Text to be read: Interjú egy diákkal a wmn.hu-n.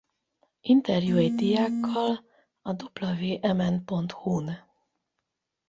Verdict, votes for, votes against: rejected, 4, 8